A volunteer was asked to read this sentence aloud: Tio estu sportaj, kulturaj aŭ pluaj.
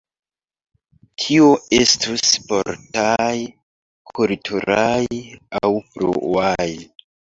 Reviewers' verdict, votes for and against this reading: rejected, 0, 2